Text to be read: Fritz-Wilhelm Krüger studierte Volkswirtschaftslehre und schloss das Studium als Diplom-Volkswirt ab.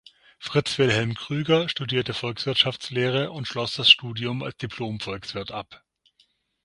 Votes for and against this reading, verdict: 6, 0, accepted